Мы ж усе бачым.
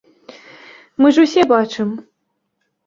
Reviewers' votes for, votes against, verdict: 2, 0, accepted